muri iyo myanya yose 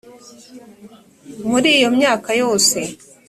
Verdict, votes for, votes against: rejected, 1, 2